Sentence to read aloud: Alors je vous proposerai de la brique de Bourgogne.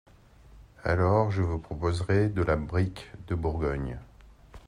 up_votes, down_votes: 2, 0